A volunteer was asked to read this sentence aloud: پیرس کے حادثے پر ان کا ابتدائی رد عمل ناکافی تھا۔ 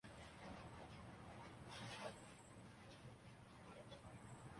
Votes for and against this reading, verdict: 0, 2, rejected